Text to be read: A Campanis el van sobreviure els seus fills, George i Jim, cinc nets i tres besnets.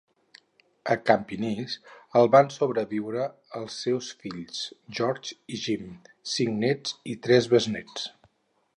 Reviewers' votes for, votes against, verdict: 0, 4, rejected